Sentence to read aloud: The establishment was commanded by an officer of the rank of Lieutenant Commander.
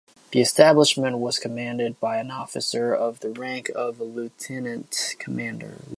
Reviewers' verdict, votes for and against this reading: accepted, 2, 0